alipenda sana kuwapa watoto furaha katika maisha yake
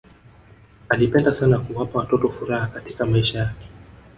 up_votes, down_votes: 1, 2